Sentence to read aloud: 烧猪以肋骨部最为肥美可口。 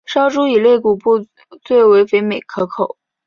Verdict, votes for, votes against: accepted, 7, 0